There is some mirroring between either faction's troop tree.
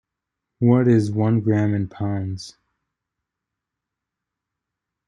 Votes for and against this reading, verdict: 0, 2, rejected